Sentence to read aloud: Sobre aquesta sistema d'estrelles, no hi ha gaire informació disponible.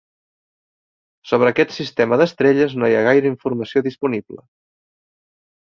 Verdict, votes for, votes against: rejected, 0, 2